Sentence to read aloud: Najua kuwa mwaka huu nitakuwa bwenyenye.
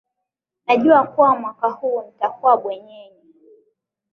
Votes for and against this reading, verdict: 2, 0, accepted